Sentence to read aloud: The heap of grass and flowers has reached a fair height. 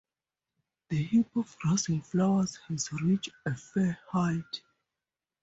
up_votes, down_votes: 2, 0